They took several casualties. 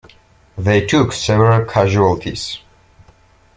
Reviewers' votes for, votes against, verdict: 3, 0, accepted